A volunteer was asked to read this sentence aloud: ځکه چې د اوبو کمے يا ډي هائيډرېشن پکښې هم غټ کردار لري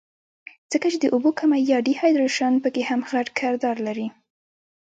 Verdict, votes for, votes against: rejected, 1, 2